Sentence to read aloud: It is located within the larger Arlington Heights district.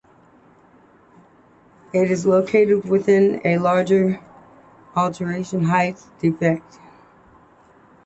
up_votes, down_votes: 2, 1